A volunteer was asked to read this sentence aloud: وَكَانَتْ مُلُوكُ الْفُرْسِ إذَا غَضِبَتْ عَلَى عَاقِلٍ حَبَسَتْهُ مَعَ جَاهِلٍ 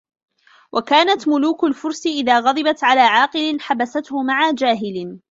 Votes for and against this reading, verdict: 1, 2, rejected